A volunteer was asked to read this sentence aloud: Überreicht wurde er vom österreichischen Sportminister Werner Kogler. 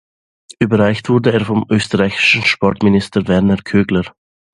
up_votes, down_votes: 1, 2